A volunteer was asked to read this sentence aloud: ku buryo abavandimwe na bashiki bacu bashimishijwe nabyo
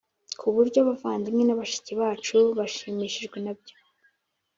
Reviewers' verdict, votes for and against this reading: accepted, 4, 1